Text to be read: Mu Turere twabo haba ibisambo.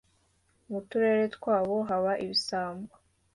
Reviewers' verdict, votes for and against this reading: accepted, 2, 0